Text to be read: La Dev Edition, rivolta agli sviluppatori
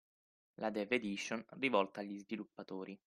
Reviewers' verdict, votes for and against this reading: accepted, 6, 0